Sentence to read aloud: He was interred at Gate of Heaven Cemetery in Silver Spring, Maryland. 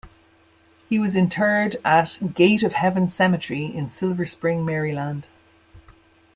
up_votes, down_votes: 2, 0